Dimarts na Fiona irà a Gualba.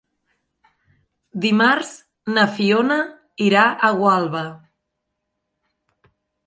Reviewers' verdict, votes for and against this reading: accepted, 3, 0